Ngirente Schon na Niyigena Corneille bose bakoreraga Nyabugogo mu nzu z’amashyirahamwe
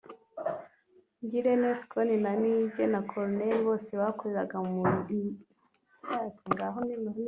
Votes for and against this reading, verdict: 1, 2, rejected